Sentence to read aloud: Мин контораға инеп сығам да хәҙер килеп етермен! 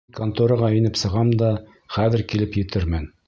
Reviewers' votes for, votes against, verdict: 1, 2, rejected